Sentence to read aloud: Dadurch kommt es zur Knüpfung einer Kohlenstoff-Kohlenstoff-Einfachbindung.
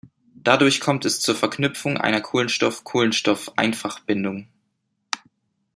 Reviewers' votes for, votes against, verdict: 0, 2, rejected